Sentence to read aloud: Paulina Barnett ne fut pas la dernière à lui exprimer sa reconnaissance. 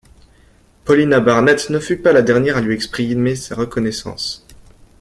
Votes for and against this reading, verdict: 1, 2, rejected